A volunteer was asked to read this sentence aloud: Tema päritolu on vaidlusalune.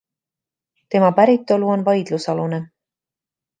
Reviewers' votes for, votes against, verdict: 2, 0, accepted